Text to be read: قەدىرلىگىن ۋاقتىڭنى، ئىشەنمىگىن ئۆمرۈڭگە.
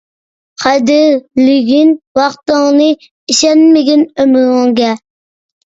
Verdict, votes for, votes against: accepted, 2, 1